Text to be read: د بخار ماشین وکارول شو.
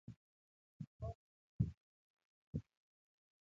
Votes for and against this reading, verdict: 0, 2, rejected